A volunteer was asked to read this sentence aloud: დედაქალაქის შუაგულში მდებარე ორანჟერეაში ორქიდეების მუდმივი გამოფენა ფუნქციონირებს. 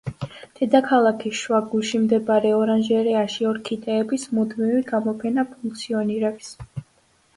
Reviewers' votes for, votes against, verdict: 2, 0, accepted